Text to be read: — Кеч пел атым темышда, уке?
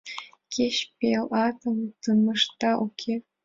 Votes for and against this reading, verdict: 2, 0, accepted